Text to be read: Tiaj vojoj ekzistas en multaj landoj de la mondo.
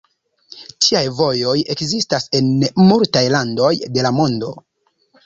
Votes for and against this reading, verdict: 1, 2, rejected